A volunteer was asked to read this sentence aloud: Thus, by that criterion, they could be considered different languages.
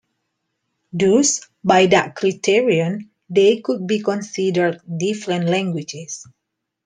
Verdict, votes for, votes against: accepted, 2, 1